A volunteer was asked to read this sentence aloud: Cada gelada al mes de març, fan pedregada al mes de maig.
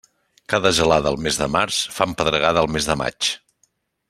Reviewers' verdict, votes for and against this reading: accepted, 2, 0